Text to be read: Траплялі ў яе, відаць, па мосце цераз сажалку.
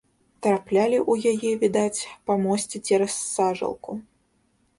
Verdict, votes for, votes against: accepted, 2, 0